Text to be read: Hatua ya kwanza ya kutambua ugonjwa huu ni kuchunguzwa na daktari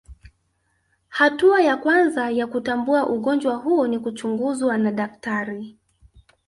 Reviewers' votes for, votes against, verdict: 0, 2, rejected